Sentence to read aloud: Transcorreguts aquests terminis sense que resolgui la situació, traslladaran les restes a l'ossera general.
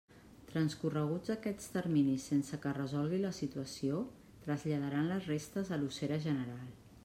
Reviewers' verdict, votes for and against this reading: accepted, 2, 0